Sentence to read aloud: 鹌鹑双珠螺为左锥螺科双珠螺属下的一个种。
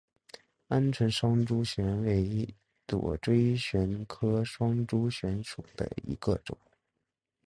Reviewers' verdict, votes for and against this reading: rejected, 0, 2